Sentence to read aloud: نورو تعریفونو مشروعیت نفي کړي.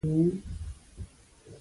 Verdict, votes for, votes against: accepted, 2, 0